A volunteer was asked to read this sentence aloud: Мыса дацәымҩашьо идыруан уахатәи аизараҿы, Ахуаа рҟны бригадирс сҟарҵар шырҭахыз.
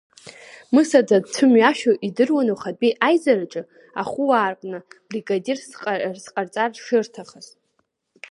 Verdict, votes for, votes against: rejected, 1, 2